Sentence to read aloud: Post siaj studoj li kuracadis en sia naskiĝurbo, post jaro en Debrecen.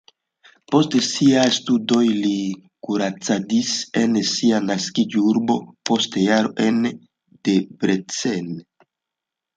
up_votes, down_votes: 2, 0